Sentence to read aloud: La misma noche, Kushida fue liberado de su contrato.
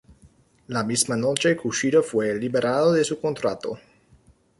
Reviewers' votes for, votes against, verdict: 2, 1, accepted